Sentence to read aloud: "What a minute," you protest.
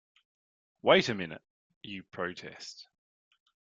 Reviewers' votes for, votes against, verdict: 1, 2, rejected